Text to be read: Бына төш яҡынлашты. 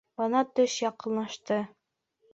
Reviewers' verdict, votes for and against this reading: accepted, 2, 0